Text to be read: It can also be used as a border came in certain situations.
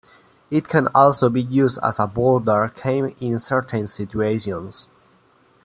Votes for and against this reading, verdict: 2, 0, accepted